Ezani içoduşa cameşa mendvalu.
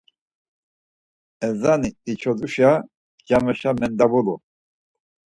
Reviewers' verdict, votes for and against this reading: accepted, 4, 2